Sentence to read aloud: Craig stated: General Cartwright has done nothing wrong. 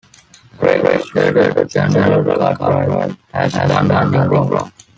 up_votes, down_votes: 0, 2